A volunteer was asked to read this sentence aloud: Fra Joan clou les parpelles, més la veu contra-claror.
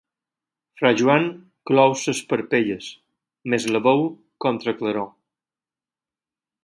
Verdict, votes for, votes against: accepted, 4, 2